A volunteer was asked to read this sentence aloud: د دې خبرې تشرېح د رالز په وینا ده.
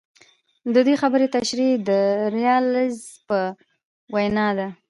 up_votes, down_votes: 1, 2